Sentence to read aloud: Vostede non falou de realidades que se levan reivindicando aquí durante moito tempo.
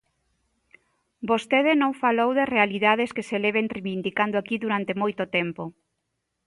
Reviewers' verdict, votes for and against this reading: rejected, 0, 2